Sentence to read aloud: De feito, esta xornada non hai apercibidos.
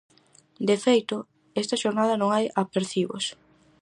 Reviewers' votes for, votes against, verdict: 0, 4, rejected